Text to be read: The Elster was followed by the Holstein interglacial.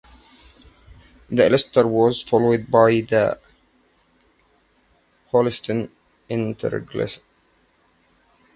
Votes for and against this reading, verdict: 0, 2, rejected